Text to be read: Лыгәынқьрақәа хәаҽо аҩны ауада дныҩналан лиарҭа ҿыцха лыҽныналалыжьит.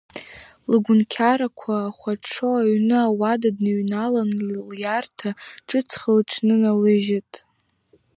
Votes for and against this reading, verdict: 2, 0, accepted